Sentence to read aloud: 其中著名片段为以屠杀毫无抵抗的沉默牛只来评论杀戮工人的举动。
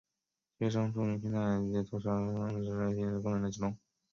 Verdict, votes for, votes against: rejected, 0, 2